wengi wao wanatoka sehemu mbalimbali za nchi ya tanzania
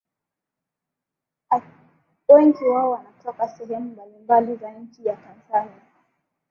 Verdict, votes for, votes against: rejected, 4, 7